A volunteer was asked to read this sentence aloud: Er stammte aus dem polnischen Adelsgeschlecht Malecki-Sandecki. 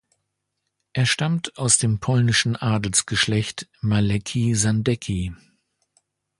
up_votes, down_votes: 0, 2